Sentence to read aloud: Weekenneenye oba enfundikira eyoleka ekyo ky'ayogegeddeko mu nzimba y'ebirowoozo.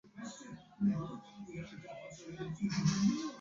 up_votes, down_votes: 0, 2